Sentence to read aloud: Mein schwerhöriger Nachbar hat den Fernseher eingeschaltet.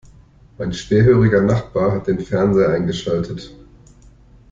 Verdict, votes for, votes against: accepted, 2, 0